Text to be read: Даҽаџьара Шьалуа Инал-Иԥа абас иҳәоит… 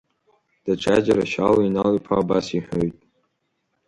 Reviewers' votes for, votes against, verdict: 2, 0, accepted